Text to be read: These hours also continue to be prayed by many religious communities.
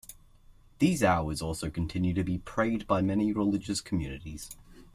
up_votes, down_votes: 2, 0